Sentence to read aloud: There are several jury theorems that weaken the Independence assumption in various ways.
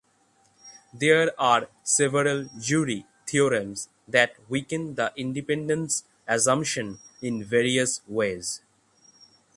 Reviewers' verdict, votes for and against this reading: accepted, 3, 0